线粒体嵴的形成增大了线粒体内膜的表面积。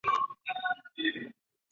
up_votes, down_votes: 0, 3